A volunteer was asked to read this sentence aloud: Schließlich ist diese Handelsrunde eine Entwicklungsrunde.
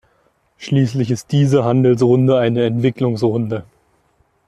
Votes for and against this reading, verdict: 2, 0, accepted